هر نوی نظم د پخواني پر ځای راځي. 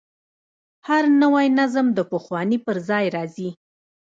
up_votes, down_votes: 0, 2